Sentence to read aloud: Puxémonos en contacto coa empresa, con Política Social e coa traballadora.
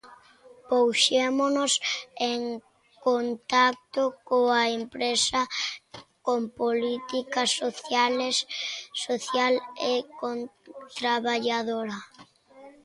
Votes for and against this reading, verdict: 0, 2, rejected